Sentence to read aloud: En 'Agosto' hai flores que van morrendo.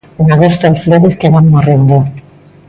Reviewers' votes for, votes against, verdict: 2, 0, accepted